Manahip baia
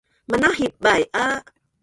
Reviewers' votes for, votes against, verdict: 1, 3, rejected